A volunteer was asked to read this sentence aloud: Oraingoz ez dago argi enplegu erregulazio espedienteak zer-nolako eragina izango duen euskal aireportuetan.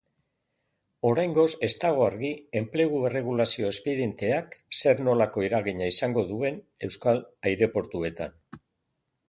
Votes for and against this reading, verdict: 2, 1, accepted